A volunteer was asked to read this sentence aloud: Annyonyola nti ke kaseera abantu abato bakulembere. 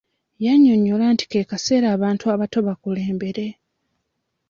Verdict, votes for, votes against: rejected, 0, 2